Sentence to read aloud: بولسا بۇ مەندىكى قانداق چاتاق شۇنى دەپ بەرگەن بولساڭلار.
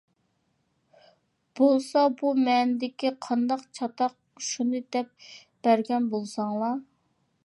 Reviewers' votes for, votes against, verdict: 2, 0, accepted